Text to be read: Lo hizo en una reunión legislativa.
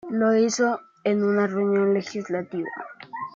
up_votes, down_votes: 2, 1